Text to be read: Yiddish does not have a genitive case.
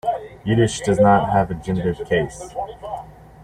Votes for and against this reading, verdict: 2, 1, accepted